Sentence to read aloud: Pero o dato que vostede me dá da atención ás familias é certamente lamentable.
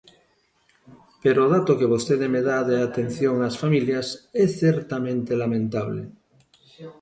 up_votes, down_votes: 2, 0